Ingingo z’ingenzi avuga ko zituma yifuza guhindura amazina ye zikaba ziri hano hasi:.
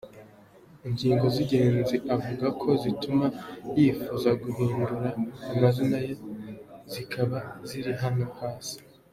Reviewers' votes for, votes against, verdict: 2, 0, accepted